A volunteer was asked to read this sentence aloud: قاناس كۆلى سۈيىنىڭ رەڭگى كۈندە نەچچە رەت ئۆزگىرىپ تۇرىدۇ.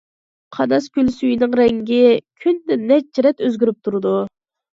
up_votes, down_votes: 2, 0